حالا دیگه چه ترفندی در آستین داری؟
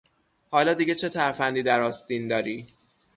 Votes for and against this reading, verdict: 3, 0, accepted